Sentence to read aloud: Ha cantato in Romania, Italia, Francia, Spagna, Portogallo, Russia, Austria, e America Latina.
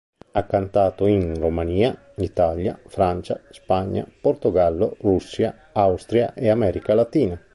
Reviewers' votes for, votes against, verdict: 3, 0, accepted